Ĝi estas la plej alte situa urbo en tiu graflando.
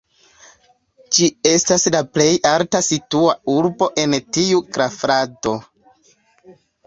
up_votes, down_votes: 0, 2